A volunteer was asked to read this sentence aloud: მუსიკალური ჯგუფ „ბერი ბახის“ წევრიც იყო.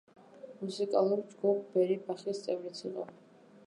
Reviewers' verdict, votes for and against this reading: accepted, 2, 0